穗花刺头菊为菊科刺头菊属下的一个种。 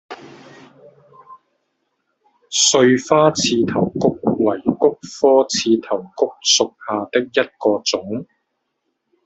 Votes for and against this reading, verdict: 1, 2, rejected